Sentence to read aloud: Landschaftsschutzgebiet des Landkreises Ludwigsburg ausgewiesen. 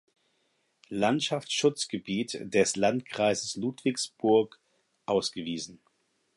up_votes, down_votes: 4, 0